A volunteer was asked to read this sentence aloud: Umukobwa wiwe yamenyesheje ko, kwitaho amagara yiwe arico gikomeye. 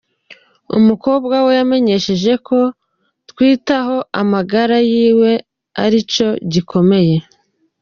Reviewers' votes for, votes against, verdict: 0, 2, rejected